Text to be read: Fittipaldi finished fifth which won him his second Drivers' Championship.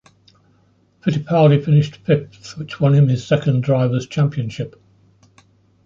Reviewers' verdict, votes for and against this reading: accepted, 2, 0